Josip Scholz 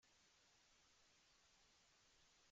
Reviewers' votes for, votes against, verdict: 0, 2, rejected